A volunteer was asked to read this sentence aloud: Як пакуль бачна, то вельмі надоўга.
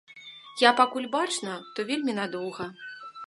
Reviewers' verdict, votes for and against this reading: accepted, 2, 0